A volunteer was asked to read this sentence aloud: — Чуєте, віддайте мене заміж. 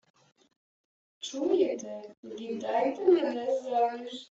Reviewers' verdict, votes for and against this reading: accepted, 2, 1